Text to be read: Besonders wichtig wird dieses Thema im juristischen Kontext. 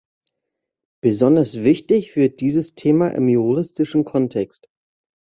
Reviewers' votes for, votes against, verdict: 2, 0, accepted